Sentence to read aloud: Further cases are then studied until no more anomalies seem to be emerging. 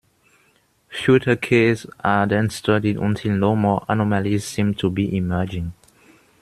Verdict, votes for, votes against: rejected, 0, 2